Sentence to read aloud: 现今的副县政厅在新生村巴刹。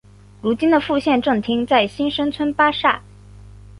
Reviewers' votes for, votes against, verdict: 0, 2, rejected